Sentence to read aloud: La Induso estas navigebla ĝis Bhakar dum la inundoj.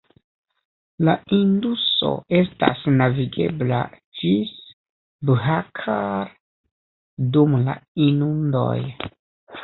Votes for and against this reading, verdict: 1, 2, rejected